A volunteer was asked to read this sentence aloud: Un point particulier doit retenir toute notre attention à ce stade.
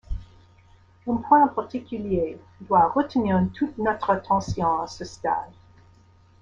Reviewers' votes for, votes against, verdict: 2, 1, accepted